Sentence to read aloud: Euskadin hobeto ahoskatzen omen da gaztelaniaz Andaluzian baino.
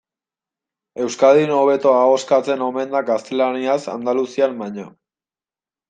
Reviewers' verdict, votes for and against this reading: accepted, 2, 0